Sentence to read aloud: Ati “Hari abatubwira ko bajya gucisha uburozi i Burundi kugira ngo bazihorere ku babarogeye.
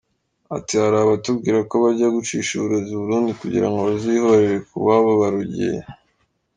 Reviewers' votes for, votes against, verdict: 1, 2, rejected